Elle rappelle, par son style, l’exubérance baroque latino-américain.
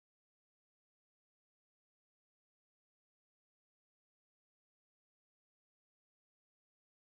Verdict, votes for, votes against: rejected, 0, 2